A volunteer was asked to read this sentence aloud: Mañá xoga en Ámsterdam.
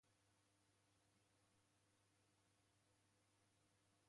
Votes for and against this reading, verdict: 0, 2, rejected